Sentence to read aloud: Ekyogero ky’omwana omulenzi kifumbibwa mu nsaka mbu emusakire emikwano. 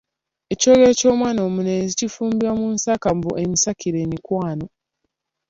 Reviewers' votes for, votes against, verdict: 2, 1, accepted